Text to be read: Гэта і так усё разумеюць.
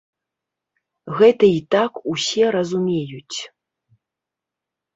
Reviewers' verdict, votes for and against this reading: accepted, 2, 0